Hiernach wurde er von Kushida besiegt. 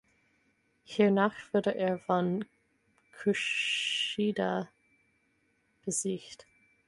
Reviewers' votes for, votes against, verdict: 2, 4, rejected